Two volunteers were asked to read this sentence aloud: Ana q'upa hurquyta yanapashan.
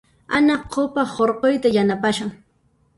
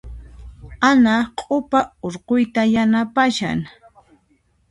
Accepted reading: second